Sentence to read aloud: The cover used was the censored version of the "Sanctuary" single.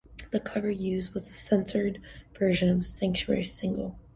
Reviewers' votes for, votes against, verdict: 2, 0, accepted